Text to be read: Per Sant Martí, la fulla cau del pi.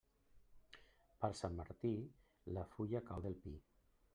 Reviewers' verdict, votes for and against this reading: rejected, 1, 2